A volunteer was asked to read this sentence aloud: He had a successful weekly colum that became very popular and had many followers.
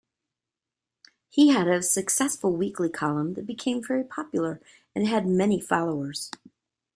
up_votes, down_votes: 2, 0